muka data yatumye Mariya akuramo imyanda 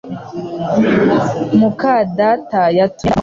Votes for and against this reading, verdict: 1, 2, rejected